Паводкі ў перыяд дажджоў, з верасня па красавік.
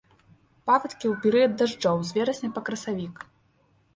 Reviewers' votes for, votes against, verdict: 3, 1, accepted